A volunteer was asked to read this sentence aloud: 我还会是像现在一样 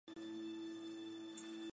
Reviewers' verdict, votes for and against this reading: rejected, 0, 5